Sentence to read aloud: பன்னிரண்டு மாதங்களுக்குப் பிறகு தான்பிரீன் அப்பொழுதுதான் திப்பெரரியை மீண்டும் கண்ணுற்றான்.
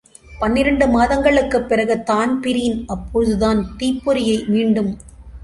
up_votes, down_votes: 0, 2